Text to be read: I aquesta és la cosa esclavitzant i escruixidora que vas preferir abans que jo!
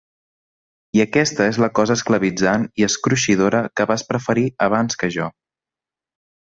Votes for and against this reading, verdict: 3, 0, accepted